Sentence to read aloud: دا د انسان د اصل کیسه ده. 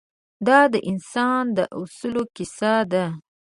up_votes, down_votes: 0, 2